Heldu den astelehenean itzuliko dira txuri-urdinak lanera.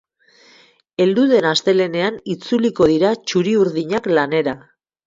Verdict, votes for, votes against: accepted, 4, 0